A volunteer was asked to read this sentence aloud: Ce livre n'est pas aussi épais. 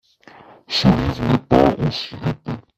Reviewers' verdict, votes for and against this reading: rejected, 1, 2